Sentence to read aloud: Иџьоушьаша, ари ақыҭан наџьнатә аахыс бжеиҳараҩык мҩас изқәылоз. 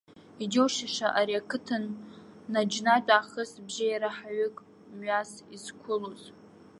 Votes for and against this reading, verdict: 1, 2, rejected